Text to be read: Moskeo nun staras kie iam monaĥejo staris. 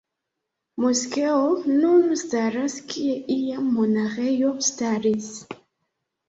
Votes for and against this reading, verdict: 2, 1, accepted